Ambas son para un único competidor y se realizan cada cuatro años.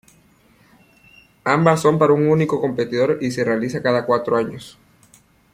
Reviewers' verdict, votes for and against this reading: accepted, 2, 0